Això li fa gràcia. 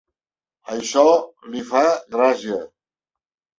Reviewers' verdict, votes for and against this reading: rejected, 0, 2